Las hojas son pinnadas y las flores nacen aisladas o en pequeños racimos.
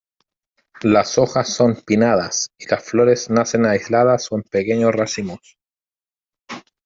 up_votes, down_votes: 2, 0